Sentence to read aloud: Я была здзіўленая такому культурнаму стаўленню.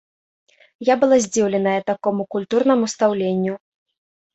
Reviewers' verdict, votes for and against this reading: rejected, 0, 2